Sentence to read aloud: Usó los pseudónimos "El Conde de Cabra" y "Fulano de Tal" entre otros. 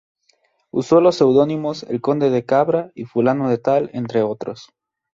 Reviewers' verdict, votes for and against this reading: accepted, 2, 0